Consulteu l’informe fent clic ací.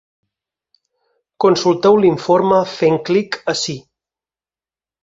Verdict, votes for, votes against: accepted, 6, 0